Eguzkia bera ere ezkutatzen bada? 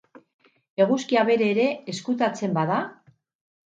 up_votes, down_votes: 2, 4